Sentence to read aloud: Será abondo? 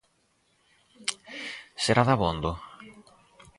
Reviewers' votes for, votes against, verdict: 0, 4, rejected